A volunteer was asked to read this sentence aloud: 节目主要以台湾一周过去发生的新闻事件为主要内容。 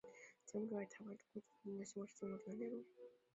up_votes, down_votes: 0, 2